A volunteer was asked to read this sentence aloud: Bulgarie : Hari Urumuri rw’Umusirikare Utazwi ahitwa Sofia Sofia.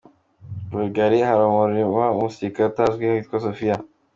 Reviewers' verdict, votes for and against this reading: accepted, 2, 0